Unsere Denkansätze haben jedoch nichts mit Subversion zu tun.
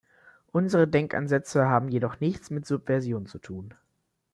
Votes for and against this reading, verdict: 2, 0, accepted